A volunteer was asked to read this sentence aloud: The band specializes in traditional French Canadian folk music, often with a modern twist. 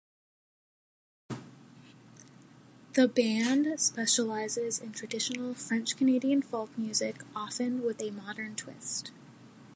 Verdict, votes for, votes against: accepted, 2, 0